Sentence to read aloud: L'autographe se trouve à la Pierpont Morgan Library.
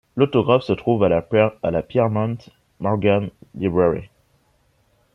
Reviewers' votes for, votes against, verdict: 0, 3, rejected